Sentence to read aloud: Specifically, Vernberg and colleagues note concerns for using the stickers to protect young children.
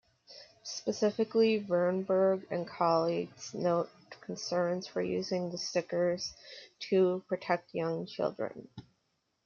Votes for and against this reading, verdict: 1, 2, rejected